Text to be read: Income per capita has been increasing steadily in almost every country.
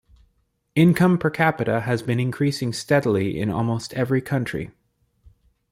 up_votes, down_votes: 2, 0